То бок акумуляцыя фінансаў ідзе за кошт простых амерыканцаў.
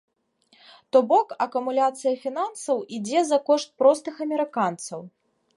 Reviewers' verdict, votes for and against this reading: accepted, 2, 0